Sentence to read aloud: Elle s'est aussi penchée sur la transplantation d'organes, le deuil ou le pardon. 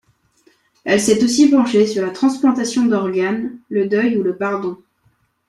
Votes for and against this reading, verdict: 2, 0, accepted